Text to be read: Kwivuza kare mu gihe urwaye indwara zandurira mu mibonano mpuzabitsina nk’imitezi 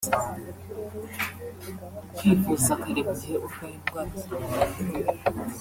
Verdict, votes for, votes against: rejected, 0, 2